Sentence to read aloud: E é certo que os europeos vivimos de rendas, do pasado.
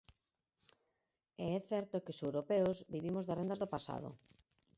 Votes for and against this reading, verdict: 2, 6, rejected